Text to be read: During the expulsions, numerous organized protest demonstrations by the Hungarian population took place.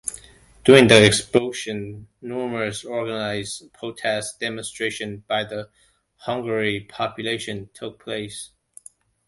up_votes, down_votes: 0, 2